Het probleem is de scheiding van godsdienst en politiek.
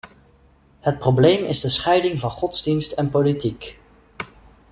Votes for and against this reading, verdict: 2, 0, accepted